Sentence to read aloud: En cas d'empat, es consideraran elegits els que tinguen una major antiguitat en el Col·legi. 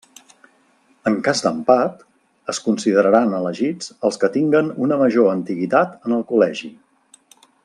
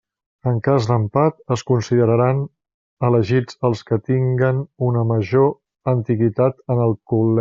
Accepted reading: first